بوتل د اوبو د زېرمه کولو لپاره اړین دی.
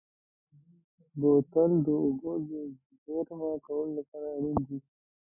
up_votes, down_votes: 0, 2